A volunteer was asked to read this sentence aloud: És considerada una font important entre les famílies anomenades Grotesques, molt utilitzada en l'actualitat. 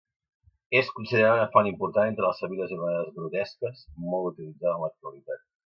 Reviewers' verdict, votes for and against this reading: rejected, 1, 2